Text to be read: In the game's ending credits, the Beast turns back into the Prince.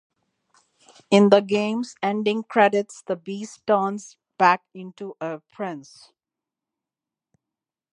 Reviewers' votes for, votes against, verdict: 0, 2, rejected